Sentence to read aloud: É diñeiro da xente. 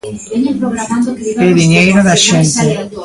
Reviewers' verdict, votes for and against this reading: rejected, 0, 2